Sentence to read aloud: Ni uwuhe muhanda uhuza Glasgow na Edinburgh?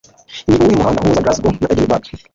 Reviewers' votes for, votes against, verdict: 1, 2, rejected